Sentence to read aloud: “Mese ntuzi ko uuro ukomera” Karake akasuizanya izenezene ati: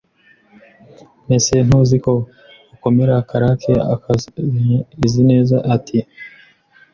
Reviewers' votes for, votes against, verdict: 0, 2, rejected